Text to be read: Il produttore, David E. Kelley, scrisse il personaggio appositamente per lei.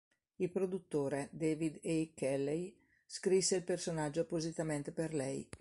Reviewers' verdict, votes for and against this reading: accepted, 2, 0